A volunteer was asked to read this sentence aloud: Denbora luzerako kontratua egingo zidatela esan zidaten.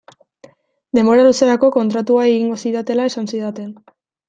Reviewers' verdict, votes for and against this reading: accepted, 2, 0